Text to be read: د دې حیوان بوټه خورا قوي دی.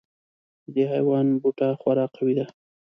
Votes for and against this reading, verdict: 2, 0, accepted